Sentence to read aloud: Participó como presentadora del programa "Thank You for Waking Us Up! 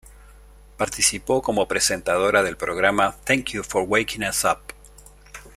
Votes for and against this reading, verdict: 2, 0, accepted